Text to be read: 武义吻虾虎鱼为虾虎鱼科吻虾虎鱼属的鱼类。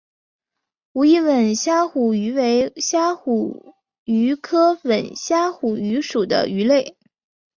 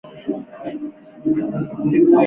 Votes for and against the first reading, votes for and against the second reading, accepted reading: 2, 0, 1, 3, first